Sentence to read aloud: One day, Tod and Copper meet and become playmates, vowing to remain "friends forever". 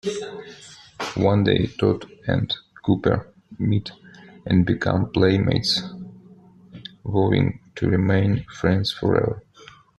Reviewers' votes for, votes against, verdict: 2, 0, accepted